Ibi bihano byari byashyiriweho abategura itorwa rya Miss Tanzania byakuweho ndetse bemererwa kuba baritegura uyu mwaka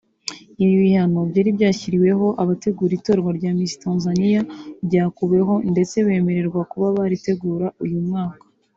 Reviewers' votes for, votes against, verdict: 2, 0, accepted